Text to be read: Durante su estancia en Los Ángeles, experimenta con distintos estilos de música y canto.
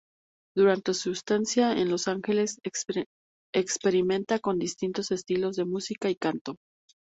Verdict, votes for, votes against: rejected, 2, 2